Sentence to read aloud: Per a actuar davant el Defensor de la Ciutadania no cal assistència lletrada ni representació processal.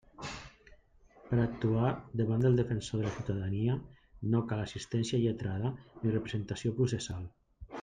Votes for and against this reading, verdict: 0, 2, rejected